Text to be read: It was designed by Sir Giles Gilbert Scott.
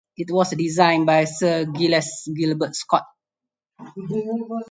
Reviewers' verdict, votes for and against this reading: rejected, 0, 4